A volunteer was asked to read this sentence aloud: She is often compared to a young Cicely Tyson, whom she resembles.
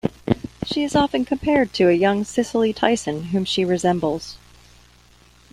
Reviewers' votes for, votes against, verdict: 2, 0, accepted